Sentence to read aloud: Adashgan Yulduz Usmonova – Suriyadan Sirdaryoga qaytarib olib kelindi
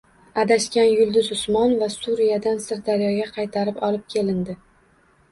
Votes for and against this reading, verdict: 2, 0, accepted